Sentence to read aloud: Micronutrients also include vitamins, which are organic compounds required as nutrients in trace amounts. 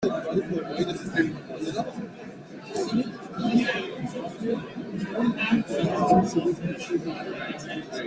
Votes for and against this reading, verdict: 0, 2, rejected